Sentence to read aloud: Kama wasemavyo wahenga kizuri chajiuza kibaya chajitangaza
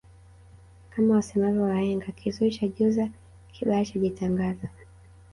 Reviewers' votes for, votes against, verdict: 1, 2, rejected